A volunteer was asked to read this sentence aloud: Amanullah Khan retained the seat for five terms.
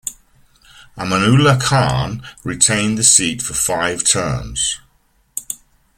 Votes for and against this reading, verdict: 1, 2, rejected